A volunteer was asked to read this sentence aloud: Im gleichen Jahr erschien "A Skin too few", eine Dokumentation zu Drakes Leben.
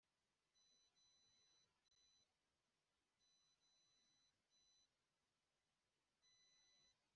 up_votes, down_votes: 0, 2